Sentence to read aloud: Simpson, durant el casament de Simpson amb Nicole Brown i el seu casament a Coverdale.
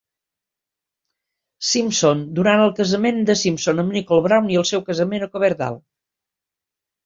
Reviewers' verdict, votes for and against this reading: accepted, 3, 1